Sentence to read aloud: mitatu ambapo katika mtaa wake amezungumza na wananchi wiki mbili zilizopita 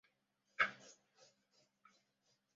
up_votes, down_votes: 0, 2